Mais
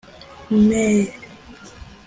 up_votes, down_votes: 0, 2